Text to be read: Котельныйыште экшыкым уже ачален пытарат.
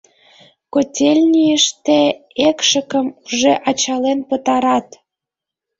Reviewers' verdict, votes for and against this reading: rejected, 2, 4